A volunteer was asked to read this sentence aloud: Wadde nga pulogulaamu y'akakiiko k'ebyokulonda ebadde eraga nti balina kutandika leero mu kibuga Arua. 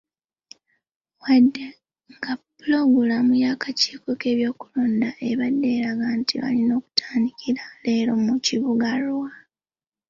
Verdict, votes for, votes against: accepted, 2, 0